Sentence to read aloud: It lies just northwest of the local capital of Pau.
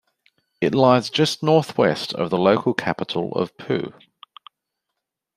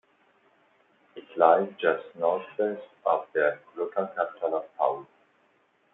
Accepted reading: first